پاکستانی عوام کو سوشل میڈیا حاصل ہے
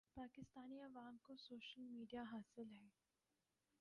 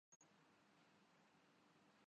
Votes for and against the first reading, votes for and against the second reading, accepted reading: 4, 3, 5, 6, first